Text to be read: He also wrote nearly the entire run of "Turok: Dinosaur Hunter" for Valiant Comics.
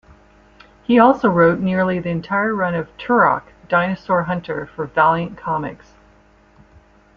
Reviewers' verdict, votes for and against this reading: accepted, 2, 0